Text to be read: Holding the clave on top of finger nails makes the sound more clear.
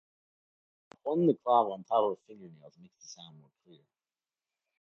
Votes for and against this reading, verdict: 0, 2, rejected